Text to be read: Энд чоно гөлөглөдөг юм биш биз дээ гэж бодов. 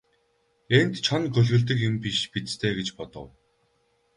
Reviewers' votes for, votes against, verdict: 2, 2, rejected